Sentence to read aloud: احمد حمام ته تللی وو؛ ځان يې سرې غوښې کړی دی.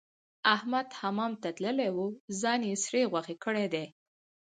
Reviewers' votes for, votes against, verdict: 0, 2, rejected